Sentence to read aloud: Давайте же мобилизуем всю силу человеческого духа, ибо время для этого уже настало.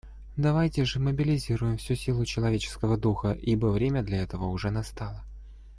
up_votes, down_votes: 1, 2